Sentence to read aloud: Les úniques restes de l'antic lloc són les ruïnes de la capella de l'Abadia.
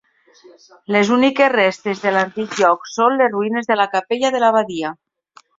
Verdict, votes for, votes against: rejected, 0, 2